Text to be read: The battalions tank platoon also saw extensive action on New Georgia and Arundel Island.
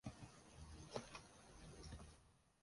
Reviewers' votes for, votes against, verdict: 0, 4, rejected